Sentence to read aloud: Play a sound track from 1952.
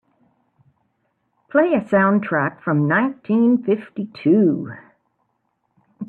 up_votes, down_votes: 0, 2